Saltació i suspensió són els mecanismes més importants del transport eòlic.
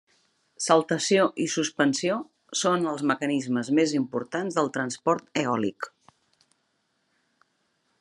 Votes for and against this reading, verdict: 3, 0, accepted